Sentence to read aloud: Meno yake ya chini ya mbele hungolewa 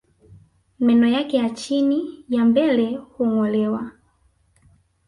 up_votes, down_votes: 0, 2